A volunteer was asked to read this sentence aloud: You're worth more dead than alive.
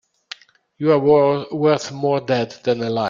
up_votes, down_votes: 1, 2